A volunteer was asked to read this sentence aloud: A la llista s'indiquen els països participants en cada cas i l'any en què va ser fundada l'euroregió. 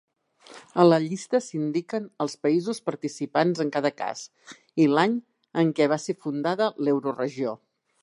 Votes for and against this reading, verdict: 3, 0, accepted